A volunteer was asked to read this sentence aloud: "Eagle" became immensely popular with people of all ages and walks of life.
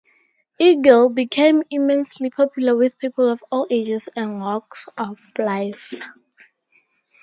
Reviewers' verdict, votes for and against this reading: accepted, 2, 0